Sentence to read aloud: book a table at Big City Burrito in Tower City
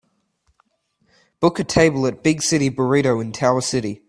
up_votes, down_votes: 2, 1